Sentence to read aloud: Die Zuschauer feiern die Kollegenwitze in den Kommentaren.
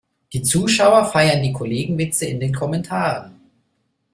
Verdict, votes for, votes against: accepted, 2, 0